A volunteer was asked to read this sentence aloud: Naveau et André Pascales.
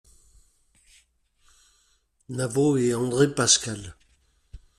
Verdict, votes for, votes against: accepted, 2, 0